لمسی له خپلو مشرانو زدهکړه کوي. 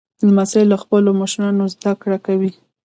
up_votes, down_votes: 1, 2